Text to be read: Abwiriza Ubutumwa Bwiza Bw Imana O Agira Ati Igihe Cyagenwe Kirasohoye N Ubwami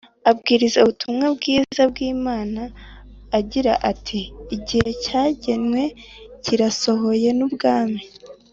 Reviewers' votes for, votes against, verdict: 1, 2, rejected